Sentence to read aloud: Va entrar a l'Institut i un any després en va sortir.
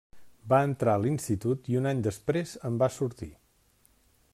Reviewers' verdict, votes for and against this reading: accepted, 3, 0